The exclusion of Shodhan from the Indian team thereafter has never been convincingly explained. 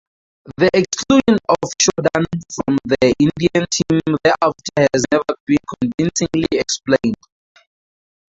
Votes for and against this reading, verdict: 0, 4, rejected